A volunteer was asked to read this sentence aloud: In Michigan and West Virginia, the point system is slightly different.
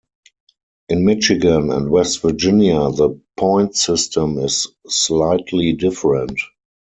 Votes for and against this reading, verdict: 4, 0, accepted